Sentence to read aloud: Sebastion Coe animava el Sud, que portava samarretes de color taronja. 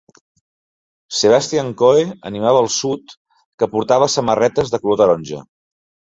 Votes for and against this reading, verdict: 2, 0, accepted